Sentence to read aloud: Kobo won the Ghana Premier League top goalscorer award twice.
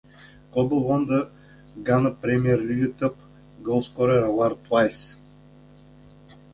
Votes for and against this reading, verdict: 1, 2, rejected